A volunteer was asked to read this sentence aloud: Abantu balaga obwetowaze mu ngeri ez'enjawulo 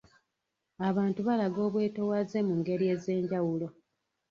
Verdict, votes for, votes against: accepted, 2, 0